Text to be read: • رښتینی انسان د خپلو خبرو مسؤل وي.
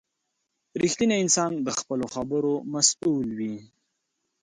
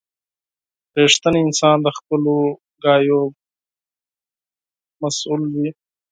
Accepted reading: first